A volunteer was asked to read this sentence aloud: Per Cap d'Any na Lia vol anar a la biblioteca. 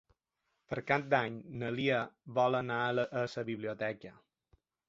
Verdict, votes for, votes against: rejected, 1, 2